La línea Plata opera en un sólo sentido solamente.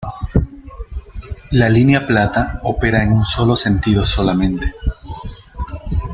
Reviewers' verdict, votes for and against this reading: rejected, 1, 2